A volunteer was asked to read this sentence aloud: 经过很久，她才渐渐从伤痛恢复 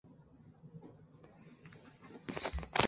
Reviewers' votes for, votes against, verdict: 1, 2, rejected